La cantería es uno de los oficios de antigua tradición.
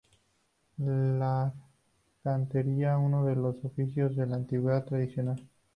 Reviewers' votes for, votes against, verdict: 0, 2, rejected